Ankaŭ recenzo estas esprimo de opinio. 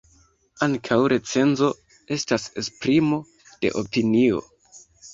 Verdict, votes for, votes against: accepted, 2, 0